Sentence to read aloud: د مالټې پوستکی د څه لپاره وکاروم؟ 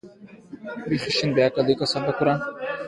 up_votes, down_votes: 1, 2